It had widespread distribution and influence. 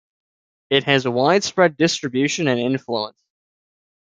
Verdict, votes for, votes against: rejected, 1, 2